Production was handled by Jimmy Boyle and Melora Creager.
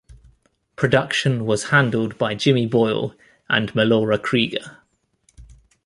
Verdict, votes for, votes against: accepted, 2, 1